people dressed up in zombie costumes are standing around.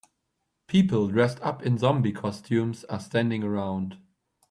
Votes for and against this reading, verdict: 2, 0, accepted